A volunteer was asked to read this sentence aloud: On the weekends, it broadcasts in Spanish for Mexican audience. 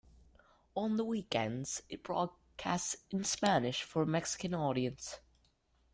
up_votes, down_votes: 2, 3